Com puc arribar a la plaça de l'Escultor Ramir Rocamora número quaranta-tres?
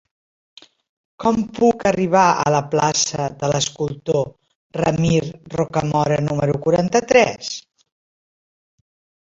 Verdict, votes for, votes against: rejected, 1, 2